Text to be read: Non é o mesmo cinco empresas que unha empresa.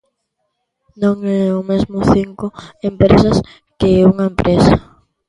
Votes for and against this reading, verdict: 1, 2, rejected